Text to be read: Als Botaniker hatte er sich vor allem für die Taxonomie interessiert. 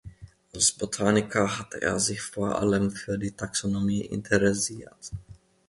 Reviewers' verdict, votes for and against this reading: accepted, 2, 0